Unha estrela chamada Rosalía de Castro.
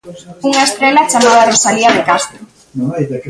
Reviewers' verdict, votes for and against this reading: rejected, 1, 2